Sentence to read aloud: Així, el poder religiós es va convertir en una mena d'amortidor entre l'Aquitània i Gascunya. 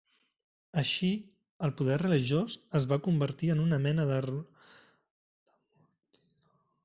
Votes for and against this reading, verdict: 0, 2, rejected